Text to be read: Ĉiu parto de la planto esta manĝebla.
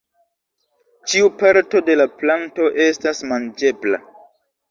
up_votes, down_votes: 0, 2